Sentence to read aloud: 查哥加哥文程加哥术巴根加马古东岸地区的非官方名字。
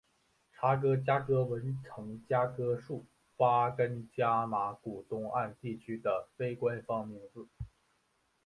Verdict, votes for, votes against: rejected, 0, 2